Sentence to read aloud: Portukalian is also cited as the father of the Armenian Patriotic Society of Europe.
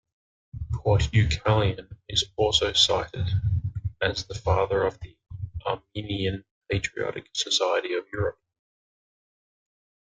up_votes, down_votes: 2, 0